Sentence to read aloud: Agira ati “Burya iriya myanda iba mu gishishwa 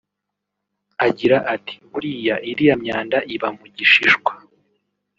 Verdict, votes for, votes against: accepted, 2, 0